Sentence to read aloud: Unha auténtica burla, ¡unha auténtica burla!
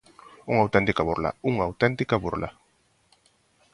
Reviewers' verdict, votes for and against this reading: accepted, 2, 0